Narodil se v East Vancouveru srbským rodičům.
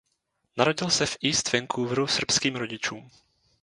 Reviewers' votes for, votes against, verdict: 2, 0, accepted